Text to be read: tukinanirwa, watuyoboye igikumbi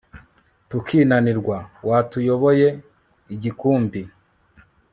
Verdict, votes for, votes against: accepted, 2, 0